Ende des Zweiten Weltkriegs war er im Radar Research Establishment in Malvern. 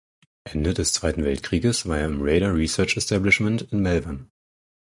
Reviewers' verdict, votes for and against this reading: rejected, 0, 4